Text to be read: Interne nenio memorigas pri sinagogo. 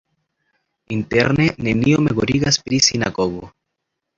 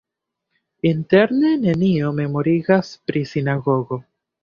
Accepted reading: first